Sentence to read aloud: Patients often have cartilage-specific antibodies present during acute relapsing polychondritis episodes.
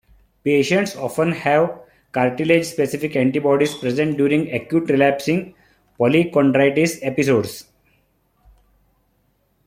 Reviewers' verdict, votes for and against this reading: accepted, 2, 1